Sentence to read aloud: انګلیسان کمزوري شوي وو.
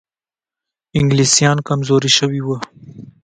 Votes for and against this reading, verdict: 2, 0, accepted